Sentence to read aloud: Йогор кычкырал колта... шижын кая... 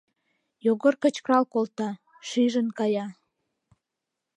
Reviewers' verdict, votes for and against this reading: accepted, 2, 0